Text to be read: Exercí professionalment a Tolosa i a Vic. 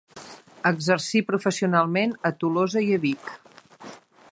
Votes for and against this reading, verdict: 2, 0, accepted